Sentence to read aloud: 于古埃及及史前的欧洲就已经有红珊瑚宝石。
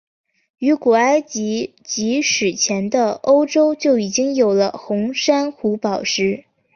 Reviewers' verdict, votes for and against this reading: accepted, 4, 0